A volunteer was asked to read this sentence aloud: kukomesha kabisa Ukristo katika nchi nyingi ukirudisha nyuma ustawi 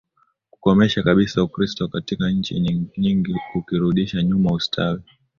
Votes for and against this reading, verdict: 2, 0, accepted